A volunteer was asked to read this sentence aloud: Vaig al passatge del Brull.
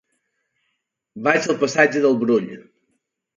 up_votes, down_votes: 2, 0